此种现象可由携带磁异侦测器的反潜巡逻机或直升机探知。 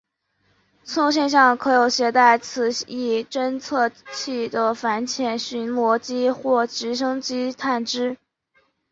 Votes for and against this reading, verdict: 7, 1, accepted